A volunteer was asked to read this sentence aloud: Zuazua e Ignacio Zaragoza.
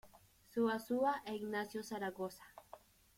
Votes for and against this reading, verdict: 2, 1, accepted